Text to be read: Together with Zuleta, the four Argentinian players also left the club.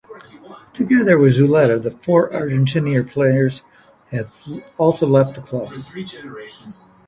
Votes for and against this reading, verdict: 1, 2, rejected